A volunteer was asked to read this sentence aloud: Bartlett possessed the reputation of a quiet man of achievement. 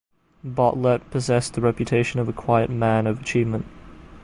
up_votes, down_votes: 2, 0